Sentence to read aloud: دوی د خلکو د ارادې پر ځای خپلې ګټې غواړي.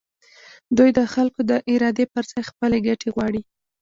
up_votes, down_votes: 2, 0